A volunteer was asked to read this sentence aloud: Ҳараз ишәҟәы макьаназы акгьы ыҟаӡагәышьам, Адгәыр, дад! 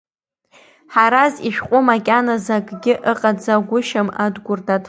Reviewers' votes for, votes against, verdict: 0, 2, rejected